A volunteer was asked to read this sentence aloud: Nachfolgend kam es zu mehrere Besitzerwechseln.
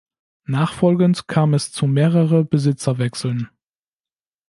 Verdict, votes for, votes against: accepted, 2, 0